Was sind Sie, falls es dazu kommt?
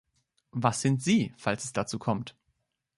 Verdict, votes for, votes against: accepted, 2, 0